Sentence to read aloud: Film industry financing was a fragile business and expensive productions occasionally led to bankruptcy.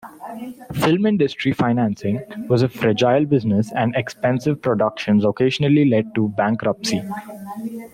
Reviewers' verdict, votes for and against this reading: rejected, 0, 2